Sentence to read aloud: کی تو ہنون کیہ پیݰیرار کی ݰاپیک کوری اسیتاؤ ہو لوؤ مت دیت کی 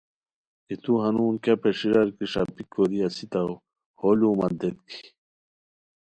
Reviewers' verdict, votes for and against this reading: accepted, 2, 0